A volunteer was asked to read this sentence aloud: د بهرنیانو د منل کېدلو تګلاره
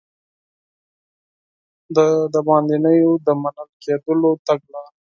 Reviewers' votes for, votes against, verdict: 2, 4, rejected